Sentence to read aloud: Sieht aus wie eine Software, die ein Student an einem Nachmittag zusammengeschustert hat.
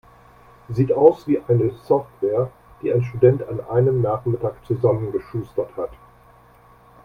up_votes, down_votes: 2, 0